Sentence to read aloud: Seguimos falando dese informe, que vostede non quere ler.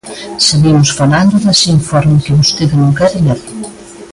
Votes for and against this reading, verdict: 2, 0, accepted